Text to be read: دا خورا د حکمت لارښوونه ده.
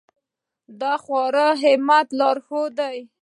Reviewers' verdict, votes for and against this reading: rejected, 0, 2